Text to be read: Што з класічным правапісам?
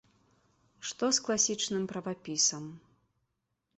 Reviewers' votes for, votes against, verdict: 2, 3, rejected